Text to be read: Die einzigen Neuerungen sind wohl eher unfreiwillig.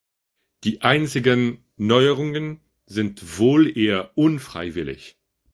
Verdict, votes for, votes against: accepted, 2, 0